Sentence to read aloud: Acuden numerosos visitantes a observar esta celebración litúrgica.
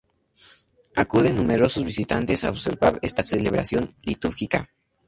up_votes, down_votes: 2, 2